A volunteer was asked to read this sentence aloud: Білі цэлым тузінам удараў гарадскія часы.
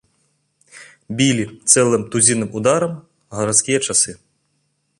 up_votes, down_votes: 2, 0